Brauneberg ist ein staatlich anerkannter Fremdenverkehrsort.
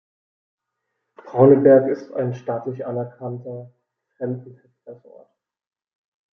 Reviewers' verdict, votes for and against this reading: rejected, 1, 2